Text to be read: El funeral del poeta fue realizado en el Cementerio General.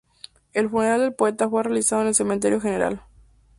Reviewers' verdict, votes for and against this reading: accepted, 6, 0